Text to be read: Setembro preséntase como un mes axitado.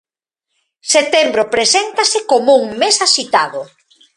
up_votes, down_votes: 2, 0